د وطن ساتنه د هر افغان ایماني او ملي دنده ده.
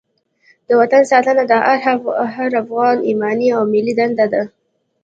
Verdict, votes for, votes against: accepted, 3, 0